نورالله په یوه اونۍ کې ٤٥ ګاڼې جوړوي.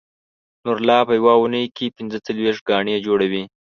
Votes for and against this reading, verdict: 0, 2, rejected